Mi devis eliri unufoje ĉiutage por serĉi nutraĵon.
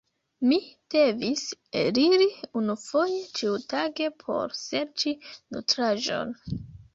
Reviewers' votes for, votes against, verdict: 2, 0, accepted